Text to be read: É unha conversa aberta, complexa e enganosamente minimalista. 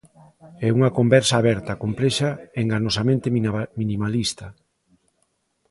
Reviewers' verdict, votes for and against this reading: rejected, 1, 2